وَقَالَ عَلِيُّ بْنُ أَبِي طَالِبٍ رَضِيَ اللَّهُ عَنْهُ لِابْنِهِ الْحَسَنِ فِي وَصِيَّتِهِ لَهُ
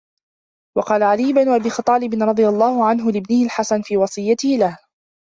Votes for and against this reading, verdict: 1, 2, rejected